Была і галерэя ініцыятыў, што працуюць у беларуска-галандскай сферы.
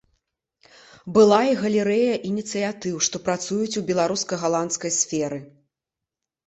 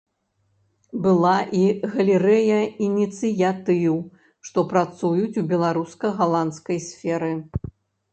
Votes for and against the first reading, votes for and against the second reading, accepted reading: 2, 0, 0, 2, first